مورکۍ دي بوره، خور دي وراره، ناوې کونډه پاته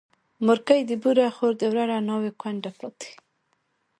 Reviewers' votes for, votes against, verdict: 2, 0, accepted